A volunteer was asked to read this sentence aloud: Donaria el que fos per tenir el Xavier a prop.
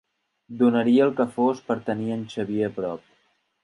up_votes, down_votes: 0, 2